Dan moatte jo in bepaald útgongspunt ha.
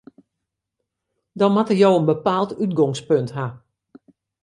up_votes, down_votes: 2, 0